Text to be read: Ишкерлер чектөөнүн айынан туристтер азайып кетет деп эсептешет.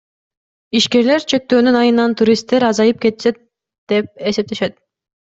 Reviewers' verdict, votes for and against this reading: rejected, 1, 2